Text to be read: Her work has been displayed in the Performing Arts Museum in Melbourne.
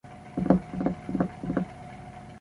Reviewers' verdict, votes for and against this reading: rejected, 0, 2